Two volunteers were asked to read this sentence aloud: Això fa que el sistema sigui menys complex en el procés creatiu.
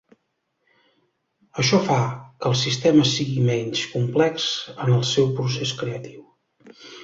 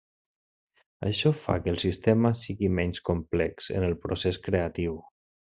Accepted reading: second